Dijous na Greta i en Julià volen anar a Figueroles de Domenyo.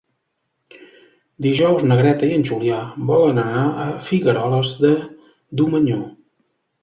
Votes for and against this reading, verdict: 0, 2, rejected